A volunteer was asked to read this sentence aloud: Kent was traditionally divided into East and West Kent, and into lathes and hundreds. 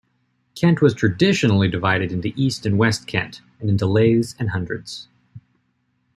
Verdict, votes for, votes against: accepted, 2, 0